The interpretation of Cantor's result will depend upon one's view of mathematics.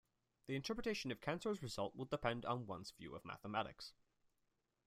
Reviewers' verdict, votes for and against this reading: rejected, 1, 2